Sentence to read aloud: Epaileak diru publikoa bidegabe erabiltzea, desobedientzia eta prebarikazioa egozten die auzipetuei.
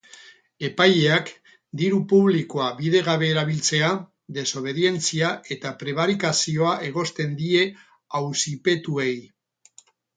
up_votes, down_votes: 6, 0